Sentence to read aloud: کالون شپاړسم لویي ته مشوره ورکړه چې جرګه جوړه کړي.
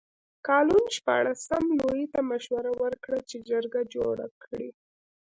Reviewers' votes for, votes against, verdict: 2, 0, accepted